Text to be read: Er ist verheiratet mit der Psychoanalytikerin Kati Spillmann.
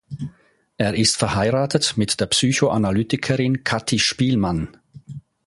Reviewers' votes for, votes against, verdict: 2, 0, accepted